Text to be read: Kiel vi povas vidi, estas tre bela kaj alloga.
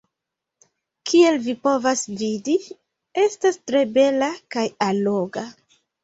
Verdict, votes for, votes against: accepted, 2, 0